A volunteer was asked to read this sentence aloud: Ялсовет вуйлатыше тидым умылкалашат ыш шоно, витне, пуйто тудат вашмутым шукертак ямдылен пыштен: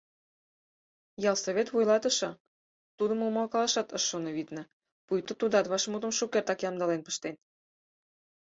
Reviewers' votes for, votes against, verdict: 2, 4, rejected